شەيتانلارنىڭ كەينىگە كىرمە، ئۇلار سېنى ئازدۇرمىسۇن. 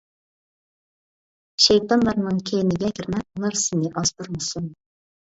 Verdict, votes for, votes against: rejected, 1, 2